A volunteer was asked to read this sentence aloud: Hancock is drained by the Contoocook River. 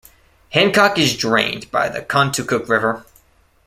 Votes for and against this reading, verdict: 2, 0, accepted